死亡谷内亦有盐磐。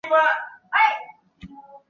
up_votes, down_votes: 0, 3